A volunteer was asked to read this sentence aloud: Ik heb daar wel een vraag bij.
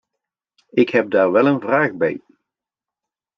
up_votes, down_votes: 2, 0